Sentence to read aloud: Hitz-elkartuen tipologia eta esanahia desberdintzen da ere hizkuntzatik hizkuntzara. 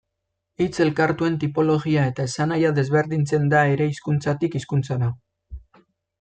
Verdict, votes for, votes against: accepted, 2, 0